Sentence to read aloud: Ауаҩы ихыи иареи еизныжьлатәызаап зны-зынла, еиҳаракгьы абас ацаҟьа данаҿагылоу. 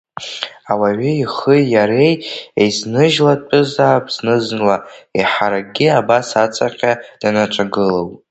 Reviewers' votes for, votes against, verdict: 0, 2, rejected